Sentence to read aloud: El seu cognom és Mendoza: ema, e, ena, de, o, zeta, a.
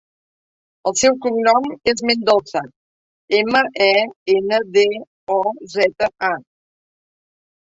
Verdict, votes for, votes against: accepted, 3, 0